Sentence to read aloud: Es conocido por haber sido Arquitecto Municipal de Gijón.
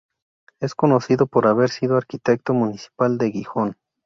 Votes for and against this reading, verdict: 0, 2, rejected